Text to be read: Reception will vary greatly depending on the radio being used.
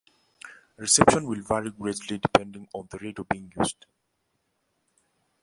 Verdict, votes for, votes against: rejected, 1, 2